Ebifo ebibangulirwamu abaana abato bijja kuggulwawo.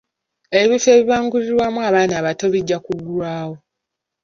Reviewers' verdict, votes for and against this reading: accepted, 2, 0